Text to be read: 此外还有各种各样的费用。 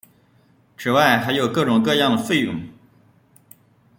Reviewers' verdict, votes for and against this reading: rejected, 0, 2